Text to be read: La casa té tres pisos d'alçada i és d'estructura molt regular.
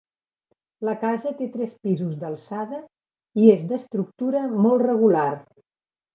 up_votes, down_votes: 3, 0